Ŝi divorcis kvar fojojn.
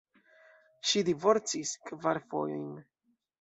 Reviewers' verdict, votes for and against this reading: rejected, 1, 2